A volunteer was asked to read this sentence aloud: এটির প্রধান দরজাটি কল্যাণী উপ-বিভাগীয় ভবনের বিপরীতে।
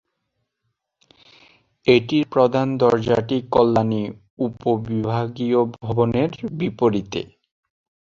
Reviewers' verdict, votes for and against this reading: rejected, 0, 2